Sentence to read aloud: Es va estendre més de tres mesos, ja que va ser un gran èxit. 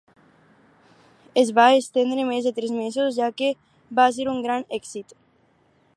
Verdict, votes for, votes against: accepted, 4, 0